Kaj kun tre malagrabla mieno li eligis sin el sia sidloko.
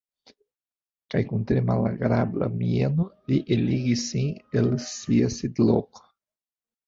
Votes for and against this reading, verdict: 1, 2, rejected